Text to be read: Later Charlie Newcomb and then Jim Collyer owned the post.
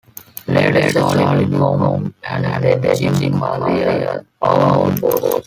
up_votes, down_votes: 0, 2